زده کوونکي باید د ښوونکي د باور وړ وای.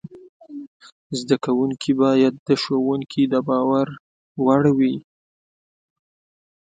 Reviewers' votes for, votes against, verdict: 0, 2, rejected